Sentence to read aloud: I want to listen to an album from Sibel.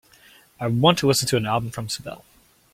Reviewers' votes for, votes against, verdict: 2, 0, accepted